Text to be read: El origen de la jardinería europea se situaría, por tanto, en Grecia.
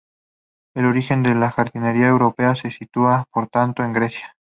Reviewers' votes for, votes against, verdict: 0, 2, rejected